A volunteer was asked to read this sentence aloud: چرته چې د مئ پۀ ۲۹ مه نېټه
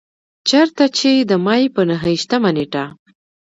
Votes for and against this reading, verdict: 0, 2, rejected